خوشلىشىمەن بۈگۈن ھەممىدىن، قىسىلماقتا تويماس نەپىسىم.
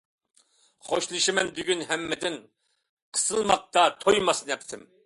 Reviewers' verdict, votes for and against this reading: accepted, 2, 0